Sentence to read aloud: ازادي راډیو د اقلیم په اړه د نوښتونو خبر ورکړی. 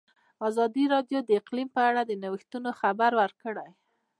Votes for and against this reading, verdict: 2, 1, accepted